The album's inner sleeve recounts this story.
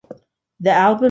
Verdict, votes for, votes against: rejected, 0, 2